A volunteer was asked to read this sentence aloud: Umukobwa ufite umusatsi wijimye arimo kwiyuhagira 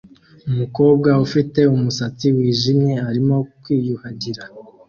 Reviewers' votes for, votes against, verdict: 2, 0, accepted